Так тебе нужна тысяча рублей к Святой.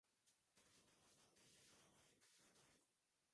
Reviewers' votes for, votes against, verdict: 0, 2, rejected